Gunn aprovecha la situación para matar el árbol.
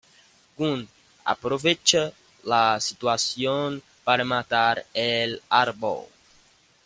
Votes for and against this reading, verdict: 2, 0, accepted